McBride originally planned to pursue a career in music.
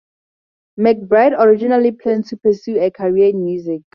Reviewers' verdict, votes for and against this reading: accepted, 4, 0